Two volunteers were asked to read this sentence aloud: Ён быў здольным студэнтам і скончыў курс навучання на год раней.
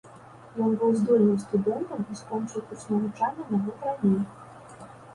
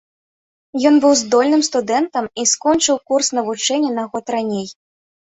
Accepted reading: first